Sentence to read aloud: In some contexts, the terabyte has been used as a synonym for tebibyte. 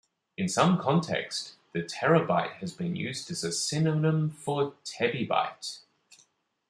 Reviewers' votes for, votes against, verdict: 2, 0, accepted